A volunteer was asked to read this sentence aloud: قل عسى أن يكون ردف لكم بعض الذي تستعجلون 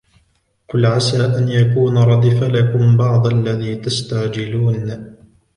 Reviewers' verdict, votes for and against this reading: rejected, 1, 2